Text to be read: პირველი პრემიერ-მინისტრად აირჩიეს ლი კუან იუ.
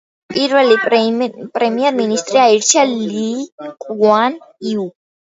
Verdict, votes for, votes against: rejected, 0, 2